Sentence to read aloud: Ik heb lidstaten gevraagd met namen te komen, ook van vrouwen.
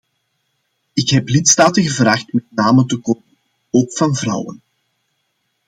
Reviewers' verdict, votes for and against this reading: accepted, 2, 0